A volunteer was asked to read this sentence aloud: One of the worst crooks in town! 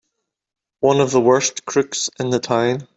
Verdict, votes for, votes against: rejected, 0, 2